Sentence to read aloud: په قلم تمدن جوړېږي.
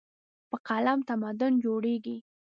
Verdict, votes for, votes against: accepted, 2, 0